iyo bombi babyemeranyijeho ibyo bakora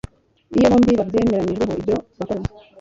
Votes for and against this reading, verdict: 2, 0, accepted